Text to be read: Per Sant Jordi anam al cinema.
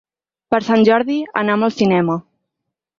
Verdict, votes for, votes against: accepted, 6, 0